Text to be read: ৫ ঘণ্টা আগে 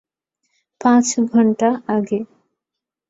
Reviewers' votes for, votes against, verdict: 0, 2, rejected